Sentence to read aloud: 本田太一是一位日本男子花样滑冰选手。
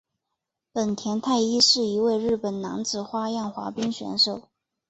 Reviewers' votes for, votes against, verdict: 0, 2, rejected